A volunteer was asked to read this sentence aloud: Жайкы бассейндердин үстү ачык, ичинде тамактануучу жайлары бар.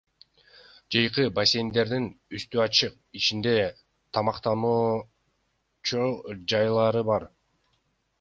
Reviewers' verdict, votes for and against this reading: rejected, 1, 2